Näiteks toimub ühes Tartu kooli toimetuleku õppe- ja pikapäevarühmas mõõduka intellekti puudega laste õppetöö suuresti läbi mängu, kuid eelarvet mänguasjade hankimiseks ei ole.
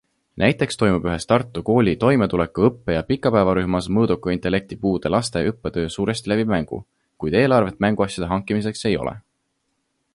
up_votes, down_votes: 2, 0